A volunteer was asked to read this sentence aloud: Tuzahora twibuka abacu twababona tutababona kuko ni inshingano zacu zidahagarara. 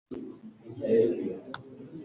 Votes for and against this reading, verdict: 0, 2, rejected